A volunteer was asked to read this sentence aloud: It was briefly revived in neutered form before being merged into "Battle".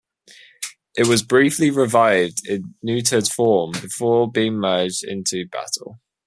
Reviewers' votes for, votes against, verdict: 2, 0, accepted